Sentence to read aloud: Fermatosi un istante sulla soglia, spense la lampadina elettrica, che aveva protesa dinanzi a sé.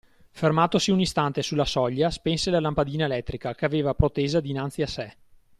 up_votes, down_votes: 2, 0